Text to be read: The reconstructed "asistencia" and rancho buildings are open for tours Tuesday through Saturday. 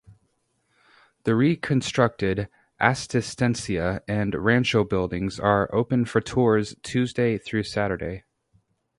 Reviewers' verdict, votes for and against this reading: rejected, 0, 2